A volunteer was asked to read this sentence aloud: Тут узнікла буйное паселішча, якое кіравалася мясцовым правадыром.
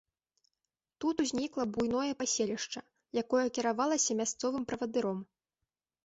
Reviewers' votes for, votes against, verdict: 2, 0, accepted